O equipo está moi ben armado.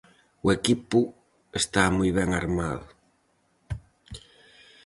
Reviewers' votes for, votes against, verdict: 4, 0, accepted